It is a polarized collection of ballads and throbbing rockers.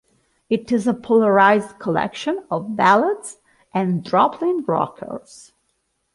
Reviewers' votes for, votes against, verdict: 2, 0, accepted